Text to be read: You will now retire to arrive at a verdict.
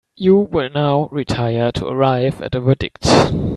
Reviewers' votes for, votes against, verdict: 2, 0, accepted